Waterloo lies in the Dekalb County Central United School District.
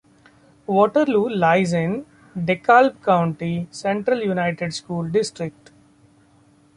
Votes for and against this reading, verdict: 1, 2, rejected